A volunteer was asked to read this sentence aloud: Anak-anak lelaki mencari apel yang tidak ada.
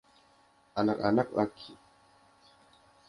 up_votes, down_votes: 0, 2